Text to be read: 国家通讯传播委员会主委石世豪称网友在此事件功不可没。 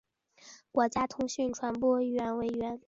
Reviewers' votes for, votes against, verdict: 0, 2, rejected